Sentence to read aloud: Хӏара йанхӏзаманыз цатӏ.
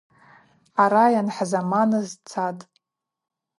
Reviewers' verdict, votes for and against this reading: accepted, 2, 0